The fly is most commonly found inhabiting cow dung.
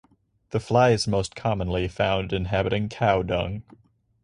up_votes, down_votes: 4, 0